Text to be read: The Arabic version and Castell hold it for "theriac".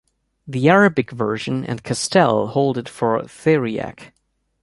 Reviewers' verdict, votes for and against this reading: accepted, 2, 0